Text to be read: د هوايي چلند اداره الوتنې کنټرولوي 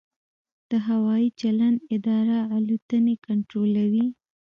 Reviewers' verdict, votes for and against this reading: rejected, 1, 2